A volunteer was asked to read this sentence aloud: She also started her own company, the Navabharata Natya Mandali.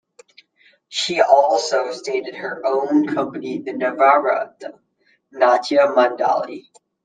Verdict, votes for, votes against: rejected, 0, 2